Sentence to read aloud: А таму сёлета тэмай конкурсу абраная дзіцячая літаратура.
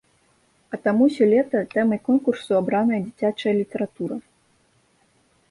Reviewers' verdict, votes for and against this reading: rejected, 0, 2